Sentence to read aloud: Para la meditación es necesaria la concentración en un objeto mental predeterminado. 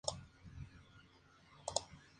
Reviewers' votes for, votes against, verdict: 0, 2, rejected